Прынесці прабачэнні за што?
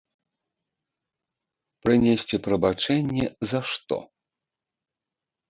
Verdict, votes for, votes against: accepted, 2, 0